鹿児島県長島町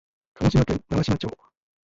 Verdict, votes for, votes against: accepted, 2, 0